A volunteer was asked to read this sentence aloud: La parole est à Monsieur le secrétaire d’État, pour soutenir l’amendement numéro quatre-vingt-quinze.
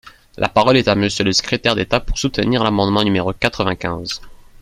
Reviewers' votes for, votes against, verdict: 2, 1, accepted